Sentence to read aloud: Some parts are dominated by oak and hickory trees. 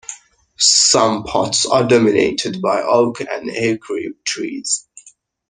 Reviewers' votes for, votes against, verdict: 1, 2, rejected